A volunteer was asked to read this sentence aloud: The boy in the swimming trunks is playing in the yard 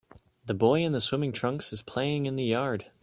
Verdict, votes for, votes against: accepted, 3, 0